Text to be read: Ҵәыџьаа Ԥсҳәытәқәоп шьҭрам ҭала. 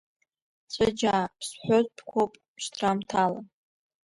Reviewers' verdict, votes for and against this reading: rejected, 1, 2